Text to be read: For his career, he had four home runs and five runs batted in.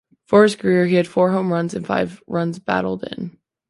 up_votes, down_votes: 0, 2